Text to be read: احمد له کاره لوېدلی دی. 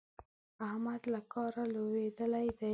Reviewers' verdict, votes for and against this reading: accepted, 2, 0